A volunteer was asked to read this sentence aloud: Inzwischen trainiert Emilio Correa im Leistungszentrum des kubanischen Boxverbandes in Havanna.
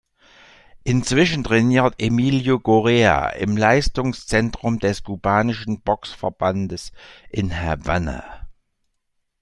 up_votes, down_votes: 2, 0